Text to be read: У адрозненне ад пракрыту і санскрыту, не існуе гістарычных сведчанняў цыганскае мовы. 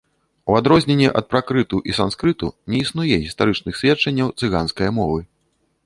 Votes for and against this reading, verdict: 2, 0, accepted